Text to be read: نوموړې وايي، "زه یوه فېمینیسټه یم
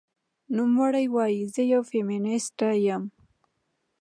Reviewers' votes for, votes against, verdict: 2, 0, accepted